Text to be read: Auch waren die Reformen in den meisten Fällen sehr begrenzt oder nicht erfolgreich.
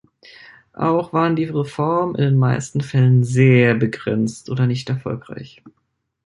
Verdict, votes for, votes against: accepted, 2, 0